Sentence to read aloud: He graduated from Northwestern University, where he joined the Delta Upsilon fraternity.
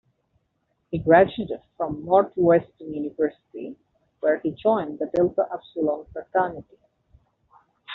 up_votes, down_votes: 1, 2